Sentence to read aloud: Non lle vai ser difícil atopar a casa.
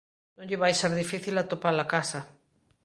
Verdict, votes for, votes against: accepted, 2, 0